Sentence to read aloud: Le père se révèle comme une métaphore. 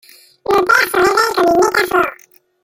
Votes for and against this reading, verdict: 1, 2, rejected